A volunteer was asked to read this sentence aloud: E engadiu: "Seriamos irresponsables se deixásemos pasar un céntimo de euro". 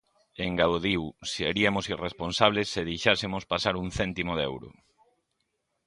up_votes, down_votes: 0, 2